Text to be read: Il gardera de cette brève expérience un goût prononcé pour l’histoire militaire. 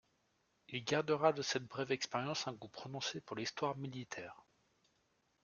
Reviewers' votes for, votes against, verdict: 2, 1, accepted